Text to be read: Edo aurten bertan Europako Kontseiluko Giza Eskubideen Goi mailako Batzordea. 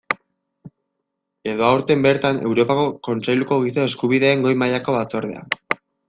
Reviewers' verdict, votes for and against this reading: accepted, 2, 0